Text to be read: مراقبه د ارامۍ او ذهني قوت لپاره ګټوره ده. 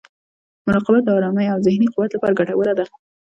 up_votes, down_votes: 2, 0